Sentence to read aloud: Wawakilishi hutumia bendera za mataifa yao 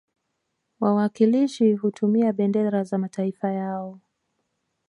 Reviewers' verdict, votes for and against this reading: rejected, 1, 2